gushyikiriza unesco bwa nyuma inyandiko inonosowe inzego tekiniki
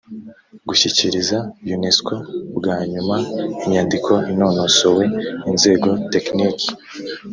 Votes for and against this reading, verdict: 3, 0, accepted